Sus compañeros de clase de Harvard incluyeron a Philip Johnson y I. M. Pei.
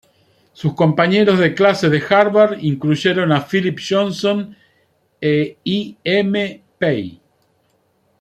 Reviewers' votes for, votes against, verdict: 2, 1, accepted